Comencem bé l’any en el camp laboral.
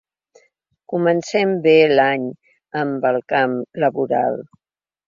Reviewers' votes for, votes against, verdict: 1, 2, rejected